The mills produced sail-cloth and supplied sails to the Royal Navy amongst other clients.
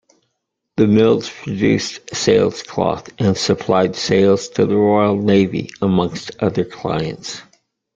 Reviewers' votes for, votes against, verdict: 0, 2, rejected